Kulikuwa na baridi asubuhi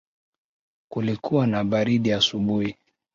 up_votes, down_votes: 2, 0